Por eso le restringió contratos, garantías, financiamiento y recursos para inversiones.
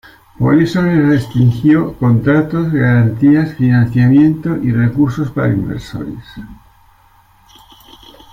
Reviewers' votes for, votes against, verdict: 1, 2, rejected